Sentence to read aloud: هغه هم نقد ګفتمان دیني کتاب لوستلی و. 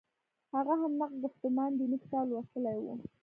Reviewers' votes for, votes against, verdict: 3, 0, accepted